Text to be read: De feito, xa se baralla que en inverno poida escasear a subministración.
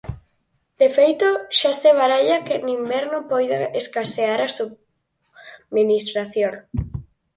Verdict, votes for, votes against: accepted, 4, 0